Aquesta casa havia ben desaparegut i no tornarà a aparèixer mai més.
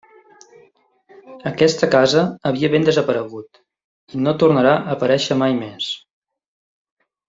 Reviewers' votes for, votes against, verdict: 3, 0, accepted